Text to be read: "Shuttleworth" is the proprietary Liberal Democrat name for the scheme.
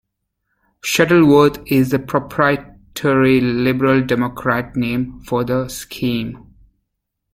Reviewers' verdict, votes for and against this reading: rejected, 1, 2